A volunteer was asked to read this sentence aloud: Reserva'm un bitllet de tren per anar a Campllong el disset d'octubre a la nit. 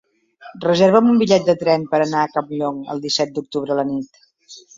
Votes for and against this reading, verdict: 3, 0, accepted